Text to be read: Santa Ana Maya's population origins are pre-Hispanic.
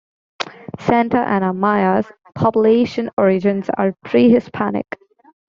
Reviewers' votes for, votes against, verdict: 2, 0, accepted